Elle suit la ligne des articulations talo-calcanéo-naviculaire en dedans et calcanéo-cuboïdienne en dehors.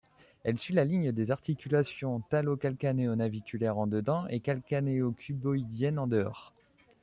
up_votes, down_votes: 2, 1